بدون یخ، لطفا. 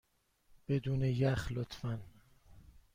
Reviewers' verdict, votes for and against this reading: accepted, 2, 0